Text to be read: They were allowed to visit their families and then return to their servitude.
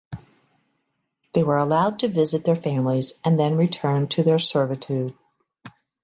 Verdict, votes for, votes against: accepted, 2, 0